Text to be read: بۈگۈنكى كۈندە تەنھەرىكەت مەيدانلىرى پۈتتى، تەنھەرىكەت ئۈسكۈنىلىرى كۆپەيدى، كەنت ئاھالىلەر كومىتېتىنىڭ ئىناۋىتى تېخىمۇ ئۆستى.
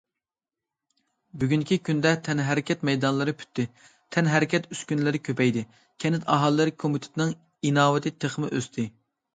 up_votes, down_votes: 2, 0